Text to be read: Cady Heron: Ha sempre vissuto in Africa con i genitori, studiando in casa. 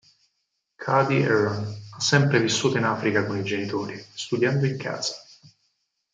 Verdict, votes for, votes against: rejected, 0, 4